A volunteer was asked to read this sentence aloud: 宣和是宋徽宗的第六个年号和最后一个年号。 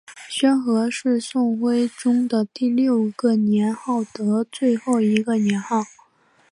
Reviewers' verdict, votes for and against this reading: rejected, 0, 2